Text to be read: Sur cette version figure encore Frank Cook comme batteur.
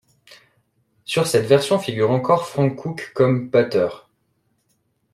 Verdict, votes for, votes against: accepted, 2, 0